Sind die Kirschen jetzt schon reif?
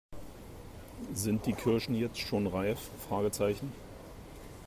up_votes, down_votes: 1, 2